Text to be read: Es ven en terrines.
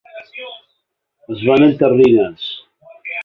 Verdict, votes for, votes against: rejected, 0, 3